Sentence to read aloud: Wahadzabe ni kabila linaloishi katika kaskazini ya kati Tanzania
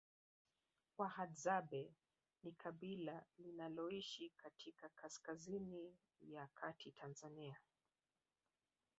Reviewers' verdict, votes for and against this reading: rejected, 3, 4